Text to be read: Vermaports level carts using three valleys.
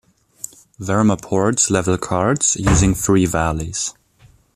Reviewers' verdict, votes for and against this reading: accepted, 2, 0